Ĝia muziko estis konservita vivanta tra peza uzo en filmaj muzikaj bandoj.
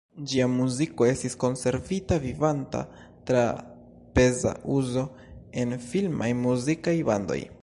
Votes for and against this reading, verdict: 2, 0, accepted